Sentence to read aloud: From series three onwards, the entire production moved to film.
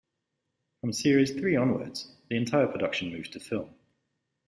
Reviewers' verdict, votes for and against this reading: accepted, 2, 0